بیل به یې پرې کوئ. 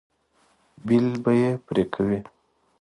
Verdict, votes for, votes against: accepted, 2, 0